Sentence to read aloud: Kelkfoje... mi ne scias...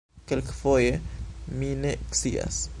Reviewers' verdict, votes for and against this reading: accepted, 2, 0